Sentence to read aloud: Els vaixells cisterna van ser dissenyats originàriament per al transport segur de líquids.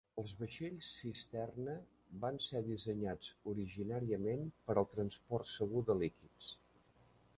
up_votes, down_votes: 1, 2